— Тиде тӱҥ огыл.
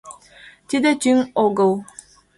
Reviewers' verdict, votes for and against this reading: accepted, 2, 0